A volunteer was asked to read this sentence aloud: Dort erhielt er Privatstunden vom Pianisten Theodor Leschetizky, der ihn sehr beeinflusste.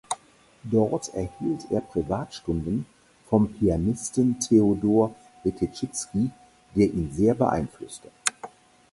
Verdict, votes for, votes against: rejected, 0, 4